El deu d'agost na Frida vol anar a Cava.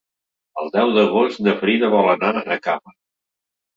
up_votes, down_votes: 0, 2